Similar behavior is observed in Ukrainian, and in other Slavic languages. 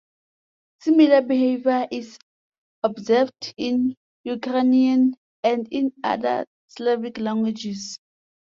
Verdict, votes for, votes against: accepted, 2, 0